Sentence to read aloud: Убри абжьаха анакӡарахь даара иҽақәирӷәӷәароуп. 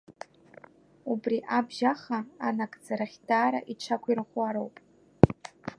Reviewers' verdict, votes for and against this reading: rejected, 1, 2